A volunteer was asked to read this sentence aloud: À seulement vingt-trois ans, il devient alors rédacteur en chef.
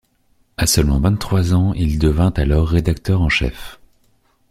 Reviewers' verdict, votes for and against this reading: rejected, 1, 2